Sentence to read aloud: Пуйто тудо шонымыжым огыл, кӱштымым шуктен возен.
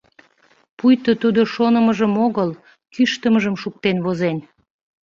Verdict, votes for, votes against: rejected, 0, 2